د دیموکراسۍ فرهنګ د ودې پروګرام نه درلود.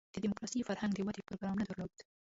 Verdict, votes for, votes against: rejected, 0, 2